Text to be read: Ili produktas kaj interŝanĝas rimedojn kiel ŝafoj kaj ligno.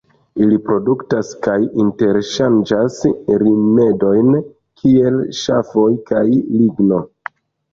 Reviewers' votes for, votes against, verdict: 1, 2, rejected